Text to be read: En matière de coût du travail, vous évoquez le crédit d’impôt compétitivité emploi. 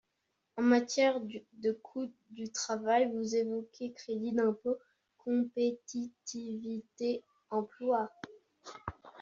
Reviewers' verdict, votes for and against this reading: rejected, 0, 2